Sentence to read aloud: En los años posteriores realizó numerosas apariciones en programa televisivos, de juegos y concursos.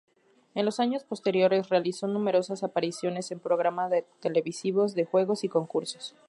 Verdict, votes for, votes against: rejected, 0, 2